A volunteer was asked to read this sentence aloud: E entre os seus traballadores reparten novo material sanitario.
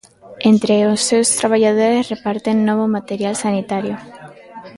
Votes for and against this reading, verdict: 0, 2, rejected